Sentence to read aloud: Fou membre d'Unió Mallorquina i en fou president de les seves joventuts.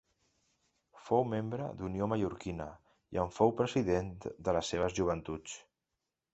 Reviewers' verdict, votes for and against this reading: accepted, 2, 0